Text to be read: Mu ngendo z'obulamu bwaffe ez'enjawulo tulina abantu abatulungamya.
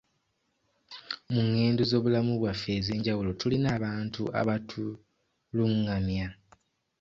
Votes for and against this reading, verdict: 2, 1, accepted